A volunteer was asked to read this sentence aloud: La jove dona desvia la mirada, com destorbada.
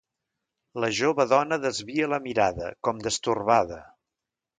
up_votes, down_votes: 2, 0